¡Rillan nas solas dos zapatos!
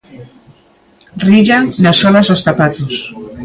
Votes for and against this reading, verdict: 0, 2, rejected